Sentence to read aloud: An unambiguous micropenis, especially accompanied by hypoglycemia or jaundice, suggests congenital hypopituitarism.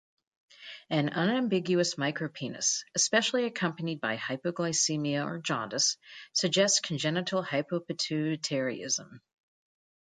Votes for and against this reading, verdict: 2, 0, accepted